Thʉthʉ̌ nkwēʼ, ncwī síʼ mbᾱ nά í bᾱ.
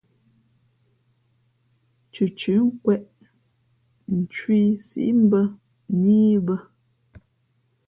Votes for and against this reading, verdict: 3, 0, accepted